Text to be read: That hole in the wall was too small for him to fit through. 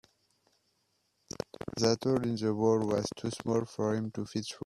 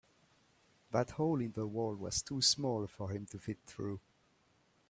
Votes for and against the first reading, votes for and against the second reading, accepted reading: 1, 3, 2, 0, second